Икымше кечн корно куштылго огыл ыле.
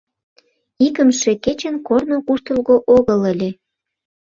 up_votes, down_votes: 0, 2